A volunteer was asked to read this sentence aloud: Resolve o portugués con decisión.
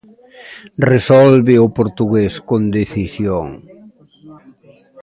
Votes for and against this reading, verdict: 0, 2, rejected